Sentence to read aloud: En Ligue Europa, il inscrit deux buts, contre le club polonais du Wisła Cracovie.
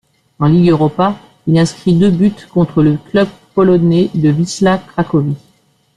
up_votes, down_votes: 0, 2